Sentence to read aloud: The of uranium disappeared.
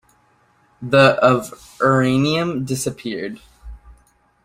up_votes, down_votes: 1, 2